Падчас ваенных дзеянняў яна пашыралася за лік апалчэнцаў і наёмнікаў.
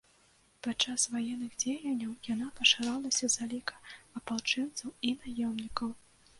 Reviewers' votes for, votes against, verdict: 2, 0, accepted